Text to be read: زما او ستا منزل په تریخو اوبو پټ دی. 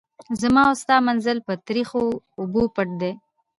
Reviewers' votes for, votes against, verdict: 2, 1, accepted